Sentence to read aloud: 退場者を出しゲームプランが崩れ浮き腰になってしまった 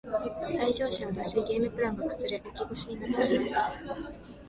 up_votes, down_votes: 0, 2